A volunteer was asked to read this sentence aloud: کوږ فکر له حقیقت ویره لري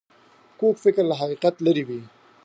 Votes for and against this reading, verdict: 1, 2, rejected